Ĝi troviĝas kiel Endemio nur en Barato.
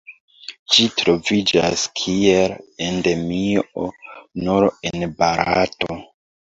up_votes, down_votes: 2, 1